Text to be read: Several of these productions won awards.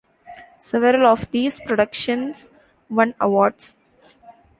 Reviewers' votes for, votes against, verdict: 2, 0, accepted